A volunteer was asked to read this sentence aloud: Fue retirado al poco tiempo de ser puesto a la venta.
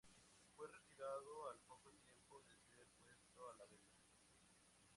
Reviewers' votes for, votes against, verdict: 0, 2, rejected